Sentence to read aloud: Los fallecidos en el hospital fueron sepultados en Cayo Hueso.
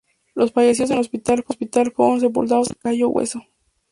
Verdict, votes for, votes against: rejected, 0, 2